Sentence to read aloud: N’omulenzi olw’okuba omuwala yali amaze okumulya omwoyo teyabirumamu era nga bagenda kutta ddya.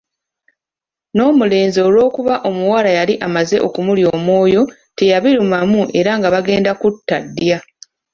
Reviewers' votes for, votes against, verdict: 2, 0, accepted